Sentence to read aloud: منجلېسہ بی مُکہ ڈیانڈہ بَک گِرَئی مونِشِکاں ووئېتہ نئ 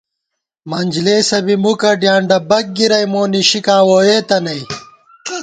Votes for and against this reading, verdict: 2, 0, accepted